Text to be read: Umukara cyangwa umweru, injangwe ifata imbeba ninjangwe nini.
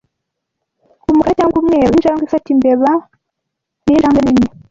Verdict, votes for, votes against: rejected, 0, 2